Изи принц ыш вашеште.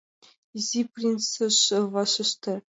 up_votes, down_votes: 1, 2